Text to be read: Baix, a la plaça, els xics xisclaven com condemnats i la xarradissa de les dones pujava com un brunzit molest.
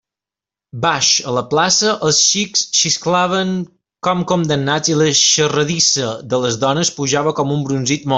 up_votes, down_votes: 1, 2